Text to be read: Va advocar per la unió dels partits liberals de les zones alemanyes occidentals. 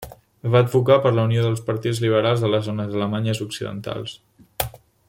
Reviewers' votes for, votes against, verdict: 3, 0, accepted